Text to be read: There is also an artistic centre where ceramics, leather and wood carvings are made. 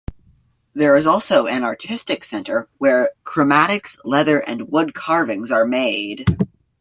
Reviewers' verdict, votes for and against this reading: rejected, 0, 2